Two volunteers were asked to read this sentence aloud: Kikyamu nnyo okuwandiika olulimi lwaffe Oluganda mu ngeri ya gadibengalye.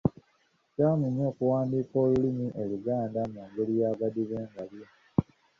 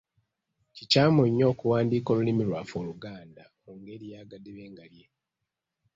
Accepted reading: second